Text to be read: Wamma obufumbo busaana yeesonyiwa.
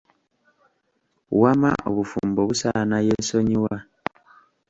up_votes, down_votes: 2, 0